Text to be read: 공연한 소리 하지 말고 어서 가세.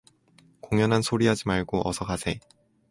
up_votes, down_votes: 2, 0